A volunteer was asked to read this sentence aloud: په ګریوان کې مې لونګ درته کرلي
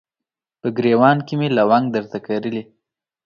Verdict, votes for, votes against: accepted, 2, 0